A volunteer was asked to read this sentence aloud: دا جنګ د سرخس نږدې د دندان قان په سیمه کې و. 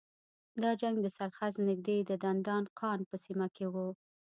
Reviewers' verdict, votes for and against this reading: rejected, 1, 2